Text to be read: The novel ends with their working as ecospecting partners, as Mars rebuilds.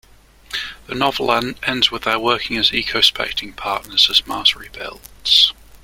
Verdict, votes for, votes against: rejected, 1, 3